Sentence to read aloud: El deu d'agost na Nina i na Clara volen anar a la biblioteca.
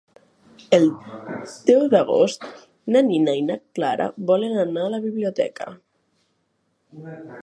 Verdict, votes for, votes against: rejected, 1, 2